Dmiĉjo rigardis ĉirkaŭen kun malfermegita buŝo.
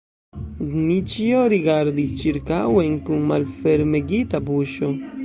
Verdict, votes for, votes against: rejected, 1, 2